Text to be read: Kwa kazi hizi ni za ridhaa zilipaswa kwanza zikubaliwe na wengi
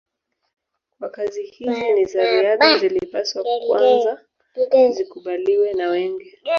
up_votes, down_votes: 1, 2